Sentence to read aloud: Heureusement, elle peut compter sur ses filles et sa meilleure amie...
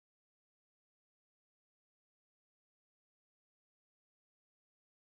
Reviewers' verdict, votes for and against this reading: rejected, 0, 2